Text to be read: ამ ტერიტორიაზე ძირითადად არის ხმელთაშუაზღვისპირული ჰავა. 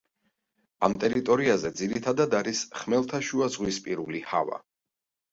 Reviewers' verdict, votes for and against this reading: accepted, 2, 1